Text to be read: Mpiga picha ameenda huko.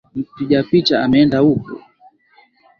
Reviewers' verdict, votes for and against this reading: accepted, 2, 0